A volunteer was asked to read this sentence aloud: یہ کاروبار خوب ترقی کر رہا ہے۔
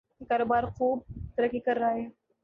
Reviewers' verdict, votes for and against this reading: rejected, 3, 4